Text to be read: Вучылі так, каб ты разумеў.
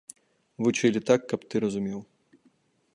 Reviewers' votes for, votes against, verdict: 2, 0, accepted